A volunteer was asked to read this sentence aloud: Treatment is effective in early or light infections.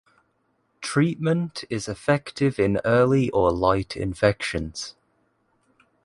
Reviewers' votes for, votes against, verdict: 0, 2, rejected